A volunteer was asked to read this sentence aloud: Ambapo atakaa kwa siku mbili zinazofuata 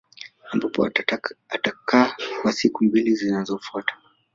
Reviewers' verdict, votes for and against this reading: accepted, 2, 1